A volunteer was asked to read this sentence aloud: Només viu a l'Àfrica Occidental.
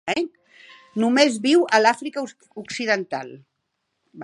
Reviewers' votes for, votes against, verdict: 1, 2, rejected